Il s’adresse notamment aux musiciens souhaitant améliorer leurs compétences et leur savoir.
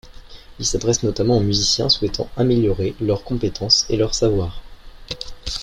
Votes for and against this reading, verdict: 2, 1, accepted